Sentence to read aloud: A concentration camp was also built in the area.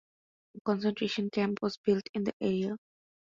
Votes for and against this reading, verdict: 2, 1, accepted